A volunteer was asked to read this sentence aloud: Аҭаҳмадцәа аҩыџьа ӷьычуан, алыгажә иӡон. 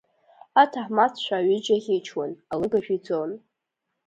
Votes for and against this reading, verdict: 2, 0, accepted